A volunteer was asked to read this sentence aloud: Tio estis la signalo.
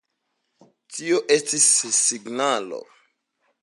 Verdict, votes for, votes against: accepted, 2, 0